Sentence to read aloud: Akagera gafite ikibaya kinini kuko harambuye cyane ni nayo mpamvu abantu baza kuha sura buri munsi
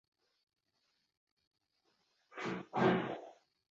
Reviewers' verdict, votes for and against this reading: rejected, 0, 2